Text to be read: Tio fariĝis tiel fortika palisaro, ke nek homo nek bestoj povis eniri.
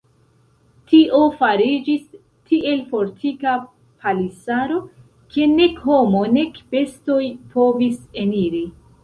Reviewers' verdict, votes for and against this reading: rejected, 0, 2